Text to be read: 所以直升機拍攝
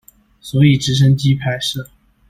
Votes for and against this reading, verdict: 2, 0, accepted